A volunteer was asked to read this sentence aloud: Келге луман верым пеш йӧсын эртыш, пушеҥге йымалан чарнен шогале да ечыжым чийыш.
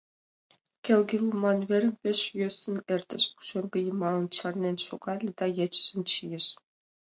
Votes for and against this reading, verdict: 2, 0, accepted